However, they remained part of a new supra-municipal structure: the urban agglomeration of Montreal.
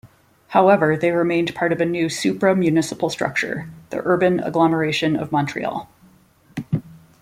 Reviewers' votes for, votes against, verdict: 2, 0, accepted